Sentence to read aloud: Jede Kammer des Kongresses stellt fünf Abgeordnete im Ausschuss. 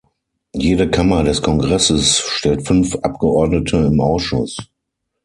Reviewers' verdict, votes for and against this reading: accepted, 6, 0